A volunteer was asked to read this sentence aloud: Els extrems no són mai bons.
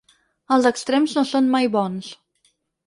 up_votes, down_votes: 6, 0